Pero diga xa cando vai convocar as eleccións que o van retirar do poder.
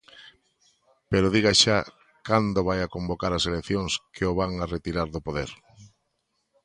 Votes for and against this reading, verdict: 0, 2, rejected